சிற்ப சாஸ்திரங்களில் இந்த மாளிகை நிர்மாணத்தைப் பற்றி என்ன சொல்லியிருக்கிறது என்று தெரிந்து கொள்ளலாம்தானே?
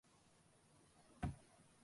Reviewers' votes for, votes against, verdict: 0, 2, rejected